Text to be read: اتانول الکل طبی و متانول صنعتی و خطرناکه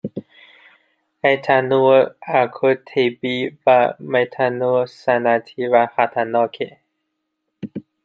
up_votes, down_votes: 1, 2